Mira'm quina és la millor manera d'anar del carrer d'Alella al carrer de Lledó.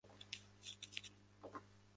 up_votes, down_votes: 0, 2